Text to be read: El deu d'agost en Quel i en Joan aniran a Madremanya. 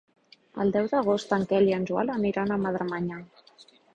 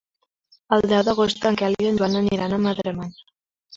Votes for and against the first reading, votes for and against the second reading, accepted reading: 3, 0, 0, 2, first